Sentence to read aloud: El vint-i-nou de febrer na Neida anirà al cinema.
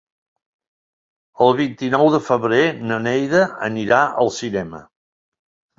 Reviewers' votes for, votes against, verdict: 3, 0, accepted